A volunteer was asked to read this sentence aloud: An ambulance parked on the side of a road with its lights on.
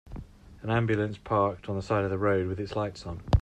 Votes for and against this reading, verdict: 2, 0, accepted